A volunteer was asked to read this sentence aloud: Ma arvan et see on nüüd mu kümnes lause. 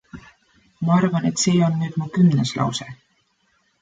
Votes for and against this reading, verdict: 2, 0, accepted